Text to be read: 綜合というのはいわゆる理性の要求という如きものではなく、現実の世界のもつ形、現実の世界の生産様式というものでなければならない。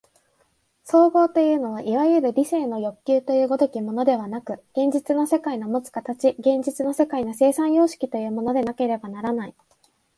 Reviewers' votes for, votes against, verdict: 2, 1, accepted